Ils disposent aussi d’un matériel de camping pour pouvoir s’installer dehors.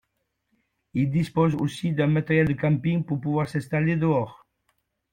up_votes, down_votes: 2, 0